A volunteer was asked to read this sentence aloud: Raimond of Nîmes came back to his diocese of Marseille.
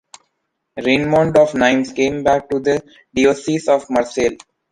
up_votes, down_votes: 1, 2